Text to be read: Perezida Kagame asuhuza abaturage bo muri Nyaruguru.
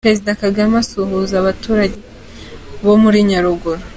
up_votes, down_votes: 2, 0